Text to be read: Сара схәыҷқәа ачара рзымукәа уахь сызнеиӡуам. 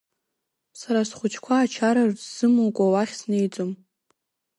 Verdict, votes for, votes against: rejected, 1, 2